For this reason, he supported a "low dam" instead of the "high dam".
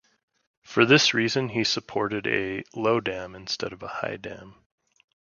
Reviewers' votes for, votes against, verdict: 0, 2, rejected